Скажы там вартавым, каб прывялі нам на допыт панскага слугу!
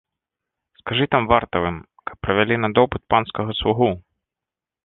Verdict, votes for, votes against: rejected, 0, 2